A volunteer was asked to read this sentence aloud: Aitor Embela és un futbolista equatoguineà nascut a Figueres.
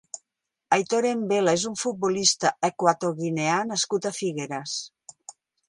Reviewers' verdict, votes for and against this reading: accepted, 4, 0